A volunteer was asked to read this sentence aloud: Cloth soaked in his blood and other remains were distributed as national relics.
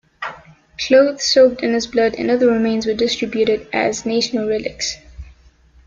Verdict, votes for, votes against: accepted, 2, 0